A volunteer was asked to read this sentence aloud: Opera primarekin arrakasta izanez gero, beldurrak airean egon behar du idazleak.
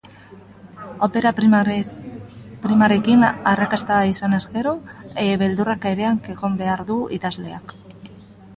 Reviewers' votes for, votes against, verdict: 0, 4, rejected